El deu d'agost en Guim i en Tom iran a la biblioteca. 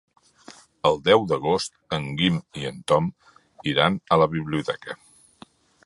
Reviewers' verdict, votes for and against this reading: accepted, 3, 0